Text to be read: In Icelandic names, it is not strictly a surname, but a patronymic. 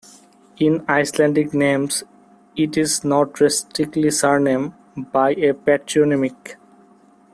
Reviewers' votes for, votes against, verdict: 1, 2, rejected